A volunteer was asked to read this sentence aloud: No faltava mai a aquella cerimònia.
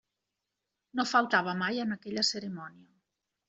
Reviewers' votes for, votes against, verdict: 0, 2, rejected